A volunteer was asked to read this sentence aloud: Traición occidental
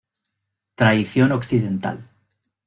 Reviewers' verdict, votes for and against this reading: accepted, 2, 0